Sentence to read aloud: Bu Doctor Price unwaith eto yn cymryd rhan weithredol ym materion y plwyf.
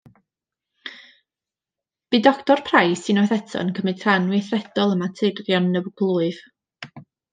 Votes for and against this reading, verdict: 1, 2, rejected